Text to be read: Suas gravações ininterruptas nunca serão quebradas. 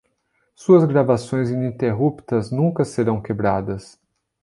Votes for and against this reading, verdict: 2, 0, accepted